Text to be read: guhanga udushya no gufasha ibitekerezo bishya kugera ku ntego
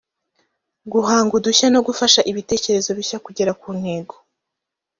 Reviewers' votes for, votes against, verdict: 0, 2, rejected